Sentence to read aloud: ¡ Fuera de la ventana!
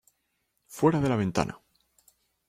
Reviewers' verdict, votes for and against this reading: accepted, 2, 0